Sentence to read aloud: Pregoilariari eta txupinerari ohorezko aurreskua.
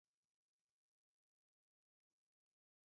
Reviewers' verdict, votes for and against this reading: rejected, 0, 2